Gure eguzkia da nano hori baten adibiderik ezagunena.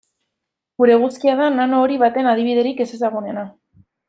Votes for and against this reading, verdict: 0, 2, rejected